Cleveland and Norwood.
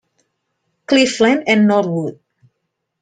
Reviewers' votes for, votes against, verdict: 2, 0, accepted